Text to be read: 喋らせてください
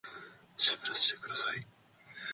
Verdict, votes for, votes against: accepted, 2, 0